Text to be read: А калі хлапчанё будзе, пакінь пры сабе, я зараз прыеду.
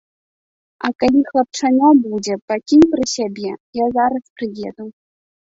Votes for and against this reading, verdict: 1, 2, rejected